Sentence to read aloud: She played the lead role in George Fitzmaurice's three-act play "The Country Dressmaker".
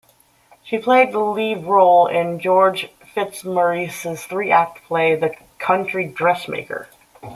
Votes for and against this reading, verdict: 2, 0, accepted